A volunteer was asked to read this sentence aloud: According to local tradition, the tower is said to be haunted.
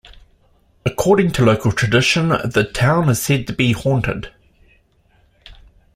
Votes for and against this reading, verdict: 0, 2, rejected